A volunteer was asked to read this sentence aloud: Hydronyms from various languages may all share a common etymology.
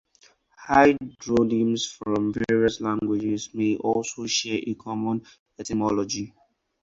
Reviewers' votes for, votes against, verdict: 2, 4, rejected